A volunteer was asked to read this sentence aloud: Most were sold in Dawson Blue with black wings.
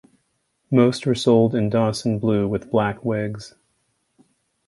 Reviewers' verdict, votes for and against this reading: rejected, 1, 2